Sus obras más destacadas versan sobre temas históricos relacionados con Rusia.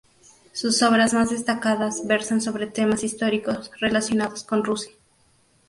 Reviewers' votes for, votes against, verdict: 2, 0, accepted